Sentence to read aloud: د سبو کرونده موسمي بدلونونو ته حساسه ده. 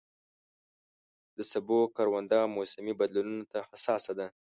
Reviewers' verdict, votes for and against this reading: accepted, 2, 0